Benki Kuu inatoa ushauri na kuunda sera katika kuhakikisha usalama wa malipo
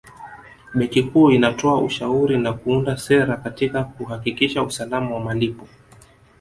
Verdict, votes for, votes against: accepted, 2, 1